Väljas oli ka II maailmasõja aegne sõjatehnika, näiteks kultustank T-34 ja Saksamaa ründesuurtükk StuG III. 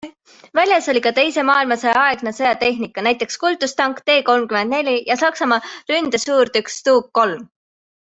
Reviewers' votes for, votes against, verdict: 0, 2, rejected